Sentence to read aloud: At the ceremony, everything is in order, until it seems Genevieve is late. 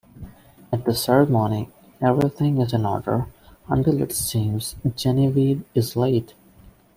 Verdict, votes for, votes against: accepted, 2, 0